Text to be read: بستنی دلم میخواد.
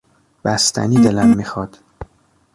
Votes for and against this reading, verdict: 0, 2, rejected